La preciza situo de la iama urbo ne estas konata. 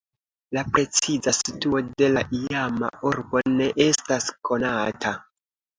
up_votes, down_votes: 3, 0